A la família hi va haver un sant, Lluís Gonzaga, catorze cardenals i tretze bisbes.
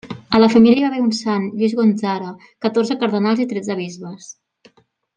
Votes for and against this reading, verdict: 1, 2, rejected